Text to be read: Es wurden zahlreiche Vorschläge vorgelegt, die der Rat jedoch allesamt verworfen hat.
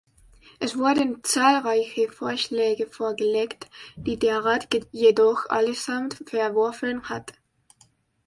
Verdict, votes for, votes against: accepted, 2, 0